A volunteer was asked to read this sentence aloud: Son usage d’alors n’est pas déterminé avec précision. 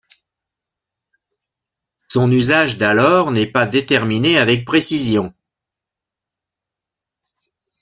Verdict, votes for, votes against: accepted, 2, 0